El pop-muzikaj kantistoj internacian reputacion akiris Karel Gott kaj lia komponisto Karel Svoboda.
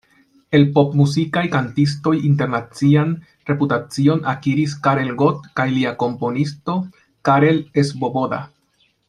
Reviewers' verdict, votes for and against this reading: rejected, 1, 2